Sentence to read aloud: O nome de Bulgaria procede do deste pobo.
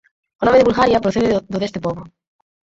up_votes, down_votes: 2, 4